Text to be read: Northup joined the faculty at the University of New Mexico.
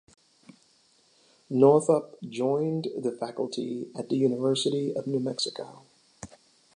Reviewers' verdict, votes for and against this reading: accepted, 2, 0